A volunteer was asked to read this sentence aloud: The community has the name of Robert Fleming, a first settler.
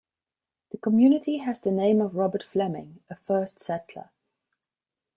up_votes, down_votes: 2, 0